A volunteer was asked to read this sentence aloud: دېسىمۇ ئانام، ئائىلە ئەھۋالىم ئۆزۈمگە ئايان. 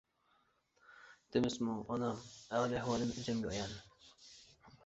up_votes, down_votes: 0, 2